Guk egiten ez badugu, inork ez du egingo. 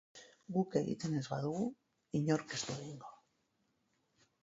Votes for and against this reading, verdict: 2, 0, accepted